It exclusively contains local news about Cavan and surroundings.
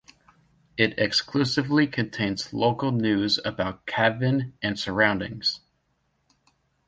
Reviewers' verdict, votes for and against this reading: accepted, 2, 0